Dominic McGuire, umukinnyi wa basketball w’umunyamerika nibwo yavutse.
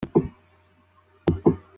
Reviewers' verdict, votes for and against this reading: rejected, 0, 2